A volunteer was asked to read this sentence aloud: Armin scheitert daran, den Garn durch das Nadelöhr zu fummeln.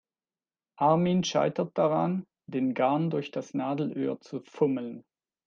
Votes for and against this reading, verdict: 2, 0, accepted